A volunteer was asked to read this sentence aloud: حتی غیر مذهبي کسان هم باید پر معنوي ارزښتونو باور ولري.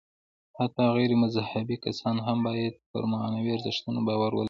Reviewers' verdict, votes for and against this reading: rejected, 1, 2